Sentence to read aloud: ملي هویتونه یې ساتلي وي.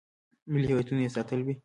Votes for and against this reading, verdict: 2, 1, accepted